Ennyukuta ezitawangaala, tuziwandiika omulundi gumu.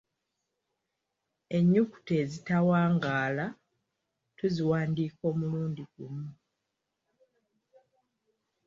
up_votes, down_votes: 2, 0